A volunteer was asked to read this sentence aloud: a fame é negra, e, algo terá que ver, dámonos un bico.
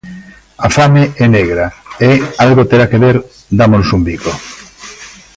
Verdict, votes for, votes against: rejected, 1, 2